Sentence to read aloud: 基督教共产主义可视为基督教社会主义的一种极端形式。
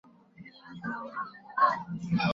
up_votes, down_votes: 0, 4